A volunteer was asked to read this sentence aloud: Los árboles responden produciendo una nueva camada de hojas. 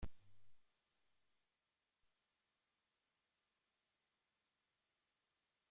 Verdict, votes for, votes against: rejected, 0, 2